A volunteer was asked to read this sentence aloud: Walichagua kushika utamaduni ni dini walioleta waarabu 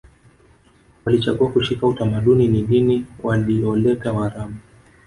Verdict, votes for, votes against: accepted, 2, 0